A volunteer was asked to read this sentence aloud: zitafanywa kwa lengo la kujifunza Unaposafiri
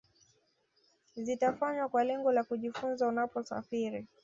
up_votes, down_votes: 2, 1